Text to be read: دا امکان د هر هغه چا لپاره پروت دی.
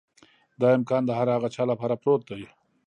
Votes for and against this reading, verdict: 2, 0, accepted